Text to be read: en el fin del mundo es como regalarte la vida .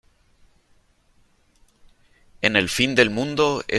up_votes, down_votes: 0, 2